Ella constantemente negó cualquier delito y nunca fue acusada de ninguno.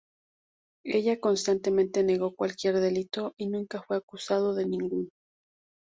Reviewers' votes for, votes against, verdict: 0, 2, rejected